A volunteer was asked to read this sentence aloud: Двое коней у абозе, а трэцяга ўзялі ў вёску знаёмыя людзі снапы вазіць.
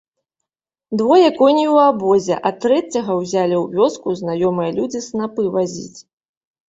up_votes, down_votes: 2, 0